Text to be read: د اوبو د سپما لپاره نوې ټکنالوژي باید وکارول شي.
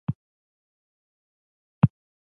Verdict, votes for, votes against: rejected, 0, 2